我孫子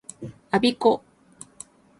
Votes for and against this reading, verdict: 2, 4, rejected